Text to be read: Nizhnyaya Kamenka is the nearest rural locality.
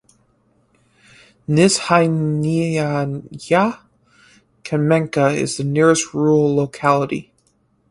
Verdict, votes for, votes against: rejected, 0, 4